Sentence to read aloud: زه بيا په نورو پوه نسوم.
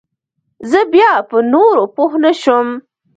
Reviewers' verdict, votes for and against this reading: rejected, 1, 2